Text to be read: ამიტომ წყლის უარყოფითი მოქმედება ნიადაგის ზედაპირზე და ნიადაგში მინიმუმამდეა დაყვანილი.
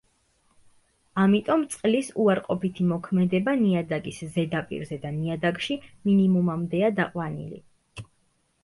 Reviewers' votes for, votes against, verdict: 2, 0, accepted